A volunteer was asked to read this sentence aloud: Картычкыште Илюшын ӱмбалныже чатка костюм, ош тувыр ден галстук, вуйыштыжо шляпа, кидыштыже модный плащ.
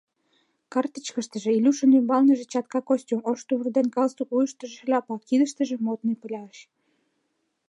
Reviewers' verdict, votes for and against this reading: rejected, 0, 2